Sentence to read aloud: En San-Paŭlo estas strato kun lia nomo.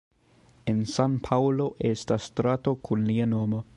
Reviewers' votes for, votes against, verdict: 2, 0, accepted